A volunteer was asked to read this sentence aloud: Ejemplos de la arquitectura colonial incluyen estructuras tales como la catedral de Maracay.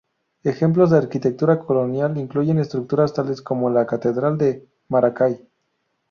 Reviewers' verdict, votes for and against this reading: rejected, 0, 2